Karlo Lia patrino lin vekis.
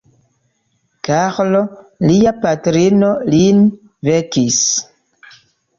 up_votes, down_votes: 1, 2